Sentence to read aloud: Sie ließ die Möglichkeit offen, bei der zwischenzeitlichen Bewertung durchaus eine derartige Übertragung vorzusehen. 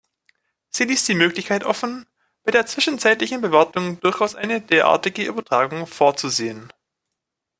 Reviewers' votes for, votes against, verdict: 1, 2, rejected